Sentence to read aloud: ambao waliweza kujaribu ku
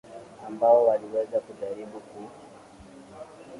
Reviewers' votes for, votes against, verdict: 2, 6, rejected